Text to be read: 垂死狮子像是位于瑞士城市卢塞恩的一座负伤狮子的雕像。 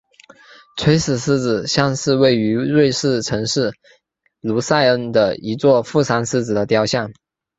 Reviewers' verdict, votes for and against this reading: accepted, 4, 0